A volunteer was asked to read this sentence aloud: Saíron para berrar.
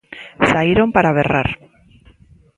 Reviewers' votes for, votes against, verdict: 2, 0, accepted